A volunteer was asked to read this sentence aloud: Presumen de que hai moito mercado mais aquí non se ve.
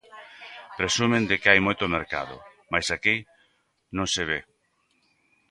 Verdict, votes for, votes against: accepted, 2, 0